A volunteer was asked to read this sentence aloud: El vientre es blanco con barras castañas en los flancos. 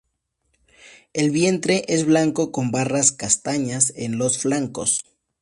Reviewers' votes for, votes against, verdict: 4, 0, accepted